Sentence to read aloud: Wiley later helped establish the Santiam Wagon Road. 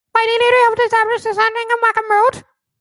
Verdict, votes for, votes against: rejected, 0, 3